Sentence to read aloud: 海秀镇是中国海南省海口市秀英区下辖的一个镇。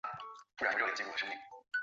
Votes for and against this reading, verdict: 0, 2, rejected